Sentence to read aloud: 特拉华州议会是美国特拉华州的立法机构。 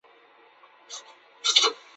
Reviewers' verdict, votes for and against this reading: rejected, 0, 4